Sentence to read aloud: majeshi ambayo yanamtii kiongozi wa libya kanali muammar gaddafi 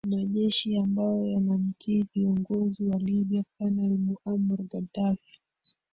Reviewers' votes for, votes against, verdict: 1, 2, rejected